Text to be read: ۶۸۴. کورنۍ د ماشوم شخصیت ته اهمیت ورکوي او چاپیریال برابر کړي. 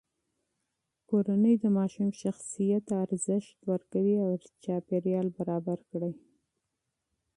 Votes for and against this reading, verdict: 0, 2, rejected